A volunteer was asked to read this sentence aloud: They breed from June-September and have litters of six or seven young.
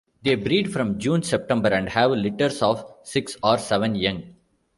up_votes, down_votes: 2, 1